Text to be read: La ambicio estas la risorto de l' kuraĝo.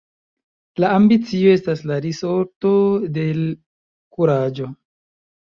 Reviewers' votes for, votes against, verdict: 0, 2, rejected